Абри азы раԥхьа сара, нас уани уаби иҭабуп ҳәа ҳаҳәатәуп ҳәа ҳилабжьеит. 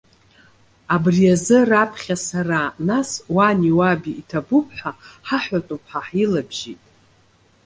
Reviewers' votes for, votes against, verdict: 2, 0, accepted